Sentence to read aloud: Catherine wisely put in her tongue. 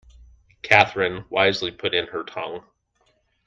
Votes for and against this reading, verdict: 2, 0, accepted